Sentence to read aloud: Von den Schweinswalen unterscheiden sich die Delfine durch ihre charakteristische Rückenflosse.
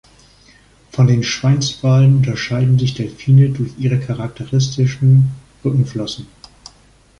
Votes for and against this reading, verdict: 0, 2, rejected